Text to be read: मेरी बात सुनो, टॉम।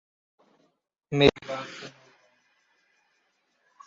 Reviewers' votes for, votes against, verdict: 1, 2, rejected